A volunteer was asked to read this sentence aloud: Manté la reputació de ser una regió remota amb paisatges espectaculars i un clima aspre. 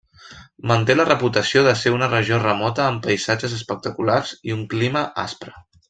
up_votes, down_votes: 3, 0